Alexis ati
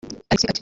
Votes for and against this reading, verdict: 2, 3, rejected